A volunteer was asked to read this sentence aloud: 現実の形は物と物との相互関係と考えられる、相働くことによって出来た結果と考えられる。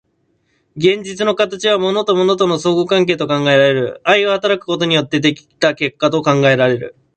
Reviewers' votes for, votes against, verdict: 2, 1, accepted